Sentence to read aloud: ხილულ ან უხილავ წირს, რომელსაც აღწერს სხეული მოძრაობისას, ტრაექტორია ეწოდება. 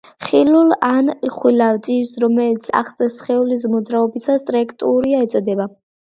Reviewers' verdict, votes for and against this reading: rejected, 1, 2